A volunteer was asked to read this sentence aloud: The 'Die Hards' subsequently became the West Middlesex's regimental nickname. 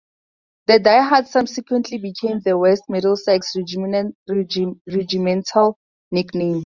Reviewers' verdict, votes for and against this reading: accepted, 2, 0